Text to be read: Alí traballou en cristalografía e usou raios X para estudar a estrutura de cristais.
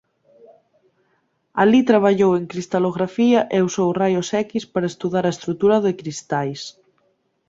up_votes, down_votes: 2, 1